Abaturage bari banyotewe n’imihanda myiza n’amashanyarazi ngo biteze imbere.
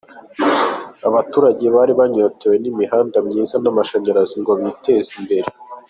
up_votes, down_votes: 2, 0